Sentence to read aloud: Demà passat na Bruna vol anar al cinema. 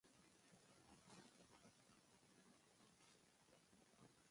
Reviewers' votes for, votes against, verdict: 0, 2, rejected